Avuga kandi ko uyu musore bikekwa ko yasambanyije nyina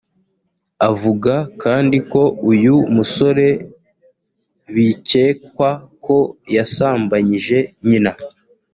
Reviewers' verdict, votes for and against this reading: accepted, 2, 0